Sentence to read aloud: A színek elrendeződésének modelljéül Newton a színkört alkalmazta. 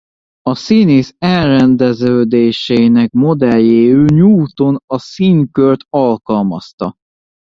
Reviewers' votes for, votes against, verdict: 0, 2, rejected